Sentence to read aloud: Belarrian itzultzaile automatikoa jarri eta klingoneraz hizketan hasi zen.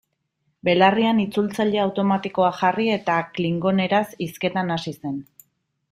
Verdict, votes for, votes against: accepted, 2, 0